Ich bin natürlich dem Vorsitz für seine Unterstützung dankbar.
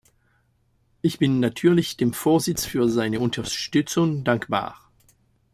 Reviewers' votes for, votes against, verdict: 2, 0, accepted